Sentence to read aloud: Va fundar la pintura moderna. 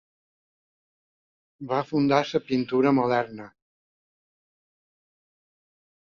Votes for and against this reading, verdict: 1, 2, rejected